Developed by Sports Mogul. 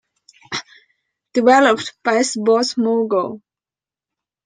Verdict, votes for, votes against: accepted, 2, 0